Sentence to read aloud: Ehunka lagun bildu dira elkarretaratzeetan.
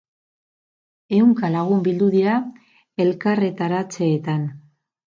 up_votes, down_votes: 2, 2